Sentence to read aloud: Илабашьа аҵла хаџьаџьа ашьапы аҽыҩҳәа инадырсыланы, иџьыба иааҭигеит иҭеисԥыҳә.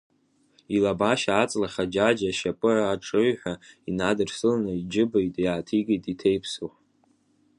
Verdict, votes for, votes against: accepted, 2, 1